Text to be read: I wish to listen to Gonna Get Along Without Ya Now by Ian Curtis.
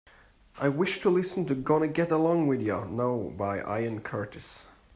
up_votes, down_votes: 2, 1